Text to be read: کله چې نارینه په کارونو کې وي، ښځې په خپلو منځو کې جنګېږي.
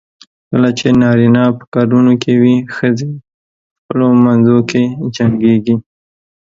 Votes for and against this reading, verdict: 1, 2, rejected